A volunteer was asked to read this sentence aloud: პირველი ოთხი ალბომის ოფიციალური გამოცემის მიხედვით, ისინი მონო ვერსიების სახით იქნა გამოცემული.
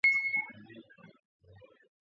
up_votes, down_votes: 0, 2